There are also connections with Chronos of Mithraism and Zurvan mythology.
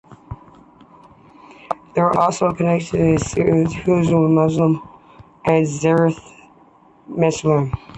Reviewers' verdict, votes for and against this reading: rejected, 0, 2